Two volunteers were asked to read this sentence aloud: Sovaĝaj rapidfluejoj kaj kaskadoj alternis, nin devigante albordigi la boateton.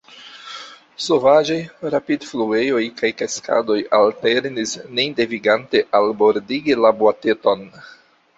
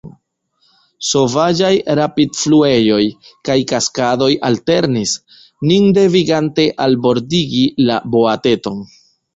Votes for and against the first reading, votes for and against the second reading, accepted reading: 0, 2, 2, 1, second